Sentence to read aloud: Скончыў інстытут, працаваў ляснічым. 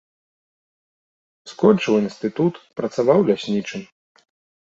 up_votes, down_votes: 2, 0